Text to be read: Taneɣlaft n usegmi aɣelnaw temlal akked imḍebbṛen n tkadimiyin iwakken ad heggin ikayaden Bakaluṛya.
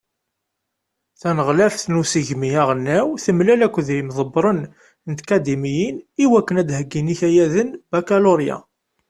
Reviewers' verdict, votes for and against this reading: accepted, 2, 0